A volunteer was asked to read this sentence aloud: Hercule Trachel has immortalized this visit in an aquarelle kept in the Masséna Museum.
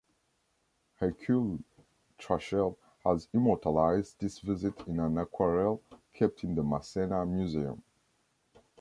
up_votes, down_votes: 2, 0